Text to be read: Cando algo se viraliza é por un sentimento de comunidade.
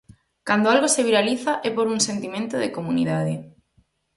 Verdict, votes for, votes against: accepted, 4, 0